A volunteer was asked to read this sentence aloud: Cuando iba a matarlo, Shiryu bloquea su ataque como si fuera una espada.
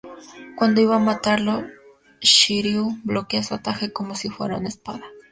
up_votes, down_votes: 0, 2